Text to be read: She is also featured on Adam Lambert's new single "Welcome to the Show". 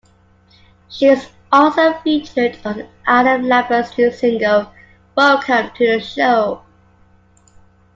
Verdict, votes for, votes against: accepted, 2, 0